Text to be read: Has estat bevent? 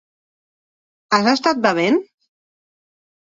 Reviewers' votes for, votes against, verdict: 4, 0, accepted